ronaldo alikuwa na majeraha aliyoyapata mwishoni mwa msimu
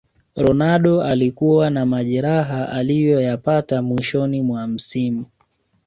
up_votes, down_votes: 3, 0